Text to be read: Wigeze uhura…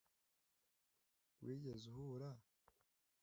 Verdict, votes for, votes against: accepted, 2, 0